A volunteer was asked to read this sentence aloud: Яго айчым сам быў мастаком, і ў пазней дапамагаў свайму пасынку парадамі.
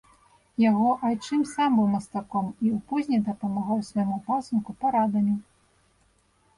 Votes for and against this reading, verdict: 0, 2, rejected